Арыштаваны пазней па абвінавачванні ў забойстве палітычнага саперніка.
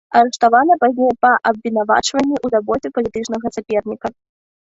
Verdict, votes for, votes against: rejected, 0, 2